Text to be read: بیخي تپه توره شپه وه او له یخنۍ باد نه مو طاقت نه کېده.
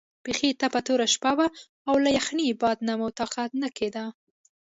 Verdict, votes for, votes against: rejected, 1, 2